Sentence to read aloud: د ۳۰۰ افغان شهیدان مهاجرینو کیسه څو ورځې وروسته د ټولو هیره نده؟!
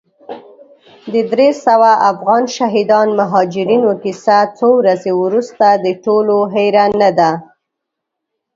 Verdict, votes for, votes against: rejected, 0, 2